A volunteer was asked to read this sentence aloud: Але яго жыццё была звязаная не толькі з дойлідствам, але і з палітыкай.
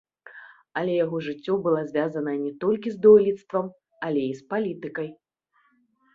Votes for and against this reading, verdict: 2, 0, accepted